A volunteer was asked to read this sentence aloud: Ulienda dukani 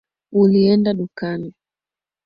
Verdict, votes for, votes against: accepted, 3, 0